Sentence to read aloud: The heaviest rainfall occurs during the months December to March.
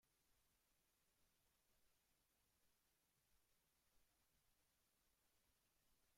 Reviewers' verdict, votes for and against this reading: rejected, 0, 2